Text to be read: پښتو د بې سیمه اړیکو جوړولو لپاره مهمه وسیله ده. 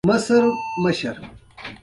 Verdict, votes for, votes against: accepted, 2, 0